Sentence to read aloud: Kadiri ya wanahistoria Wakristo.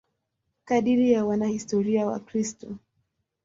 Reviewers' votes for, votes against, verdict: 2, 0, accepted